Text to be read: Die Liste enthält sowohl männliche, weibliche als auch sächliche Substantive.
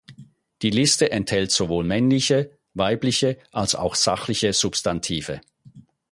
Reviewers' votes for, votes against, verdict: 2, 4, rejected